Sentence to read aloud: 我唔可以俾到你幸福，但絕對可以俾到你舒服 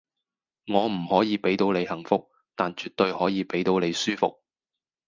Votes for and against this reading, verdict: 4, 0, accepted